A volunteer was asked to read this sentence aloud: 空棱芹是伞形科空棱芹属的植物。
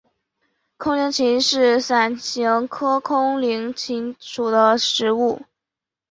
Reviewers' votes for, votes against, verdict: 2, 0, accepted